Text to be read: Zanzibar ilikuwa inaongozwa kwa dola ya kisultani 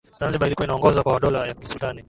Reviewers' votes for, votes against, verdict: 0, 2, rejected